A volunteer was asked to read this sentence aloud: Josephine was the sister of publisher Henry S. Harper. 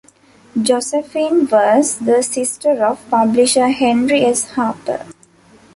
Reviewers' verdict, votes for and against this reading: accepted, 2, 0